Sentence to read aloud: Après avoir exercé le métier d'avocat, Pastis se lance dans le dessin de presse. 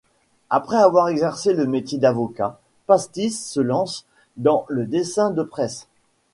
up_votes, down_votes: 2, 0